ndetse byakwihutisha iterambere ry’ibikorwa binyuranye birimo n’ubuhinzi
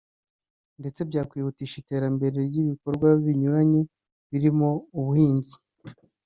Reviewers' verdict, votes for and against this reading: rejected, 1, 2